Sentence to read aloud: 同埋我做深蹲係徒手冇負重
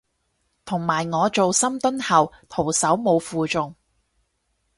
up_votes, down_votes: 0, 6